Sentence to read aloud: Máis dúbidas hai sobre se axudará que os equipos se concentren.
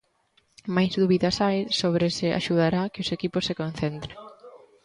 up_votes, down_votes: 1, 2